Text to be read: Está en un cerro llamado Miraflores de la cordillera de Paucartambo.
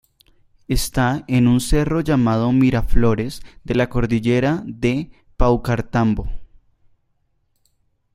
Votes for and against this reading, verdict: 2, 1, accepted